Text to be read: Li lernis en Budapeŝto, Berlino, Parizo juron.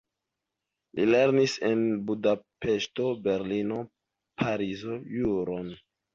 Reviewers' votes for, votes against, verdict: 2, 0, accepted